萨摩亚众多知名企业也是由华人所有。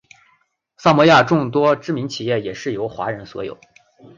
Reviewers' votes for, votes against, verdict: 4, 0, accepted